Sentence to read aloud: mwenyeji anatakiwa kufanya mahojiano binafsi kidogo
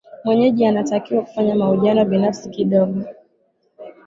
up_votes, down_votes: 2, 0